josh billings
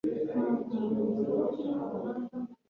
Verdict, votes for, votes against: rejected, 2, 3